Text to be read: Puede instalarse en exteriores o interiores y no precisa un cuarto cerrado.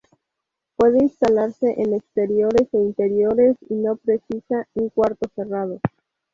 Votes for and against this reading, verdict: 2, 2, rejected